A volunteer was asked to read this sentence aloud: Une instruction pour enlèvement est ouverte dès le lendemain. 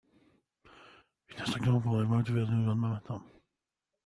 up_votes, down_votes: 1, 2